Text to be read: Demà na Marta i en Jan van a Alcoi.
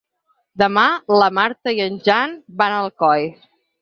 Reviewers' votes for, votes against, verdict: 6, 2, accepted